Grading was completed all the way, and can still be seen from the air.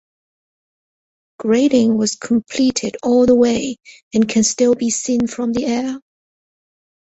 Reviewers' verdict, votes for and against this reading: accepted, 4, 0